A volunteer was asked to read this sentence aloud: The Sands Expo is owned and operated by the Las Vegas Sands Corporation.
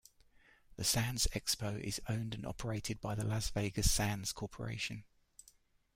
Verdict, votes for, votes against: accepted, 2, 0